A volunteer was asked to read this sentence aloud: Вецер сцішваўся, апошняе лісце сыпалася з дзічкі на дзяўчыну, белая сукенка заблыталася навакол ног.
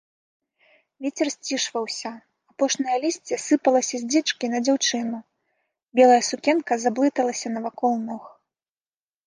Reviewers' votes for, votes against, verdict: 2, 0, accepted